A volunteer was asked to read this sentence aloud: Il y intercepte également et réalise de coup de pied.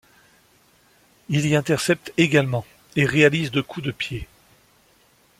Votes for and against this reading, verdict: 2, 0, accepted